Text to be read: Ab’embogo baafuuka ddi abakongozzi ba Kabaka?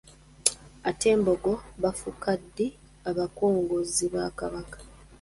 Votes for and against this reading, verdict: 0, 2, rejected